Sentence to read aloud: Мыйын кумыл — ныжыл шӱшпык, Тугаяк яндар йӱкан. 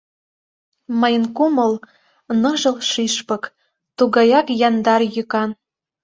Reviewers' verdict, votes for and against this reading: accepted, 2, 0